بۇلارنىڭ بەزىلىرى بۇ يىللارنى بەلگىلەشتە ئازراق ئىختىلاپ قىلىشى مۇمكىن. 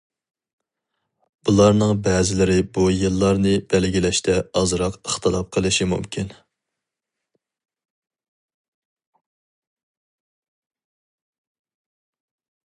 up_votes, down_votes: 4, 0